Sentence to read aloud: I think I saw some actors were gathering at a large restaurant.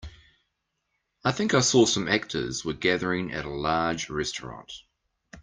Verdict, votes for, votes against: accepted, 2, 0